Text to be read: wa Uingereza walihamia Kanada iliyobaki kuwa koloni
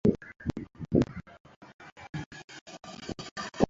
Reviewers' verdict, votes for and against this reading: rejected, 0, 2